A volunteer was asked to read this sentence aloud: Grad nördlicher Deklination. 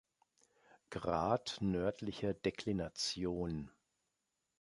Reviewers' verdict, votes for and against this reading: accepted, 2, 0